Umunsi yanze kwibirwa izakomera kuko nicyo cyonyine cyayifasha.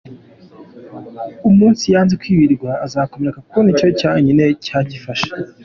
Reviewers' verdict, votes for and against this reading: accepted, 2, 1